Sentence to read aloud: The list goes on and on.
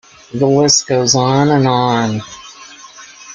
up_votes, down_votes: 2, 0